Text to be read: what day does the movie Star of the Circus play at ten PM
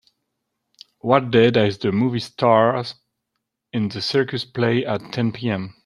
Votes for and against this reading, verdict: 0, 2, rejected